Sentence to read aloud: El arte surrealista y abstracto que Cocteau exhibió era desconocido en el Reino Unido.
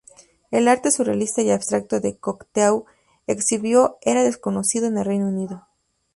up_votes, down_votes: 0, 2